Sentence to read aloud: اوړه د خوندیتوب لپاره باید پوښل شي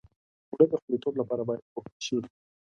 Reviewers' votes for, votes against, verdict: 0, 2, rejected